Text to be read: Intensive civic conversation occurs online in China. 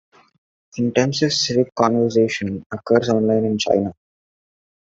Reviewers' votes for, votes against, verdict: 2, 0, accepted